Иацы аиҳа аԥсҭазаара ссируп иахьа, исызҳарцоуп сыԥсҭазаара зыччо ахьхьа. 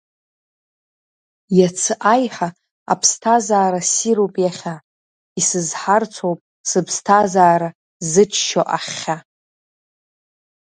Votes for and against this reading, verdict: 0, 2, rejected